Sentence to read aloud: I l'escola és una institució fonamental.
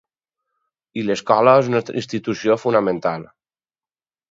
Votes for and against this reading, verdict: 2, 2, rejected